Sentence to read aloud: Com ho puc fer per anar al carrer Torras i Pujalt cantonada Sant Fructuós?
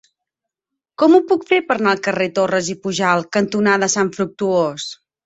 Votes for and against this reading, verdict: 2, 4, rejected